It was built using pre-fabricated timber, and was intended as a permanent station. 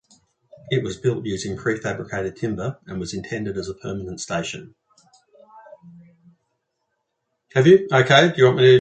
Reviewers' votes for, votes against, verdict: 0, 2, rejected